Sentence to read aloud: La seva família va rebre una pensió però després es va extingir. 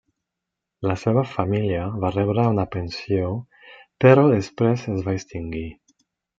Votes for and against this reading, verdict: 2, 1, accepted